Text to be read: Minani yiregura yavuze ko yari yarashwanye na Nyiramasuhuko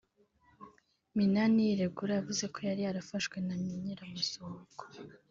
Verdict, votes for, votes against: rejected, 0, 3